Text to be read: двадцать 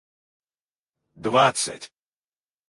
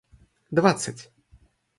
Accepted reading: second